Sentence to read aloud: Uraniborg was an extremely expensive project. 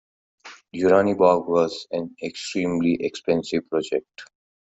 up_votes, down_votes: 2, 1